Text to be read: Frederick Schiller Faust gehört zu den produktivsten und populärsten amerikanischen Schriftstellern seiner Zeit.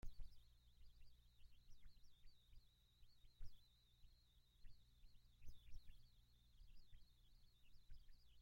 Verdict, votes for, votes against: rejected, 0, 2